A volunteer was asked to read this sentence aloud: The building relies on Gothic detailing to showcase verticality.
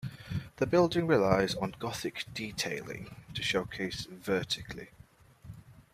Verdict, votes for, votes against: rejected, 0, 2